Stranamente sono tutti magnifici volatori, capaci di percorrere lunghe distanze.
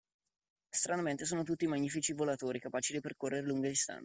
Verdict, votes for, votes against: accepted, 2, 1